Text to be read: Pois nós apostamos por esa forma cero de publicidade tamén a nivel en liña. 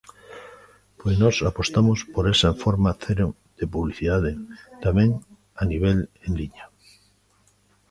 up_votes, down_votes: 2, 1